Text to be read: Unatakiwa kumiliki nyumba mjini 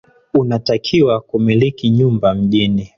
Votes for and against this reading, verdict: 1, 2, rejected